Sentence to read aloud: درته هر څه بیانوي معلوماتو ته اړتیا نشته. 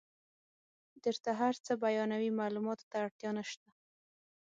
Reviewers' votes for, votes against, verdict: 6, 0, accepted